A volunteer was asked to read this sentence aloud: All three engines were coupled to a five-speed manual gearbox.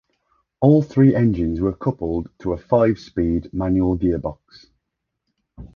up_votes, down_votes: 2, 0